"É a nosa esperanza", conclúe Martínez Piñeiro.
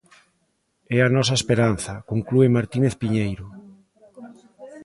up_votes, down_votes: 2, 0